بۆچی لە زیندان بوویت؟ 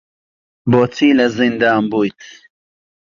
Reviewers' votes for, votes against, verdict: 2, 0, accepted